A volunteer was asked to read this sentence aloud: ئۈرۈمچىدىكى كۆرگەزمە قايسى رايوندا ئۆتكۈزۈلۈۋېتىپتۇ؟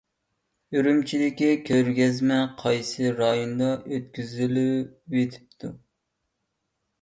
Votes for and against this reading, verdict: 2, 1, accepted